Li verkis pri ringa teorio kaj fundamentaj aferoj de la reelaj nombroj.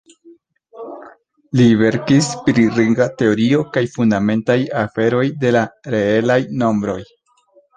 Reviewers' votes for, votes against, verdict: 2, 1, accepted